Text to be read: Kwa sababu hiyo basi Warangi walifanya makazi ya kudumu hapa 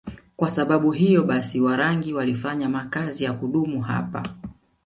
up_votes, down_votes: 2, 0